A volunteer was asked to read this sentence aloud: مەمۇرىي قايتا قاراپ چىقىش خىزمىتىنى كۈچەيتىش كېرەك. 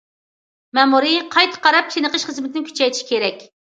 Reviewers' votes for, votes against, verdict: 2, 0, accepted